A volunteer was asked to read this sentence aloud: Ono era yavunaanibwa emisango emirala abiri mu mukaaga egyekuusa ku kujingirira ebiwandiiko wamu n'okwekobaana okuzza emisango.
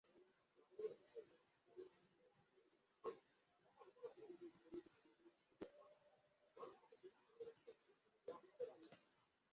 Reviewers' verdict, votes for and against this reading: rejected, 0, 2